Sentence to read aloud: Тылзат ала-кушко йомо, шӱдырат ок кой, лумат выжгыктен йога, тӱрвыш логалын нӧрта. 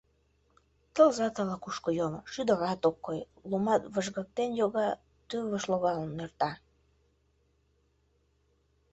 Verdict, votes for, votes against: rejected, 1, 2